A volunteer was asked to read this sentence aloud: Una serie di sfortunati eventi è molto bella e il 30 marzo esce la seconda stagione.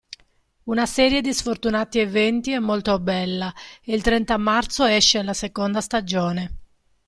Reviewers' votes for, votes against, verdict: 0, 2, rejected